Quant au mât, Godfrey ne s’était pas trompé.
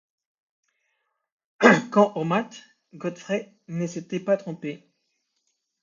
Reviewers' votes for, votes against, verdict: 2, 0, accepted